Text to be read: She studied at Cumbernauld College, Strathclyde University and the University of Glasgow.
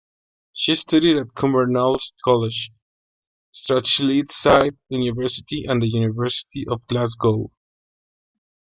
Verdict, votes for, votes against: rejected, 0, 2